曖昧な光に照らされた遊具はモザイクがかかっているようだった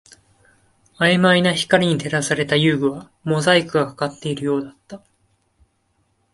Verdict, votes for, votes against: accepted, 2, 0